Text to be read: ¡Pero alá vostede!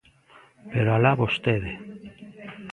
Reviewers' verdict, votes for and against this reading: rejected, 1, 2